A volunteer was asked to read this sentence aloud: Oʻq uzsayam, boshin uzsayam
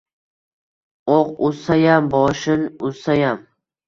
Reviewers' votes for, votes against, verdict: 2, 0, accepted